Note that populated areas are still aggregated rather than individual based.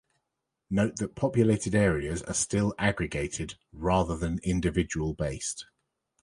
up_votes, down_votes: 2, 0